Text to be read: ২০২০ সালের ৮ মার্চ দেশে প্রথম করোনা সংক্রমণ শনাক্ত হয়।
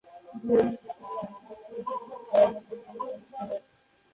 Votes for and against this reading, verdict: 0, 2, rejected